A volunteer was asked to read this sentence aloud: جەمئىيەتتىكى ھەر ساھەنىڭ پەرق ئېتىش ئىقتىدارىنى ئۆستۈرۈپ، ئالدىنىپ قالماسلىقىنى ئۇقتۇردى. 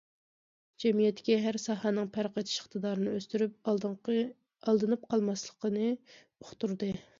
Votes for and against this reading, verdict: 0, 2, rejected